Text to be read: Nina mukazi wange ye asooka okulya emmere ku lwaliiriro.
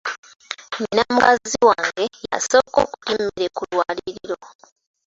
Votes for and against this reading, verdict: 0, 2, rejected